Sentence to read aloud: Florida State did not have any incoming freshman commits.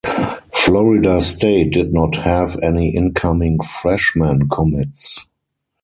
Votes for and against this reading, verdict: 2, 2, rejected